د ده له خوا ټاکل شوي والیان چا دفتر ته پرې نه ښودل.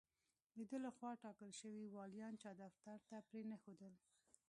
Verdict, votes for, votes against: rejected, 1, 2